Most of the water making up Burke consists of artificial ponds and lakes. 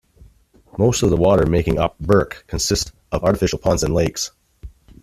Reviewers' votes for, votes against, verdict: 2, 0, accepted